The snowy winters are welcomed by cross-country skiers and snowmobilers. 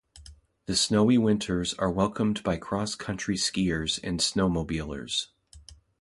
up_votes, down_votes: 2, 0